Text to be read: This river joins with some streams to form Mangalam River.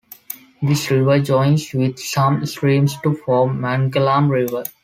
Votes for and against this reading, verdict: 2, 1, accepted